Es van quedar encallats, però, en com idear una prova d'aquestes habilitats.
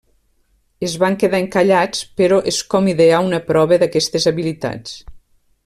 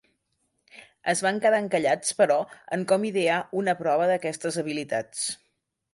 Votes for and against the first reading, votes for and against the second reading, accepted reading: 0, 2, 3, 0, second